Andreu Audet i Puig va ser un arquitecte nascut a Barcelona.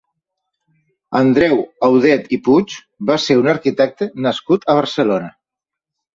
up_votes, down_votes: 3, 0